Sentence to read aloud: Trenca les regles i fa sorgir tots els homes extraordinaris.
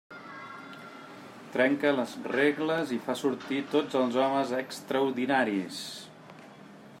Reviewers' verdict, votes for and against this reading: rejected, 0, 2